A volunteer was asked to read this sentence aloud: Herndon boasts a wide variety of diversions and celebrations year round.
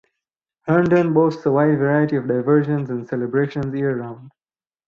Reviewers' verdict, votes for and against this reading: accepted, 4, 0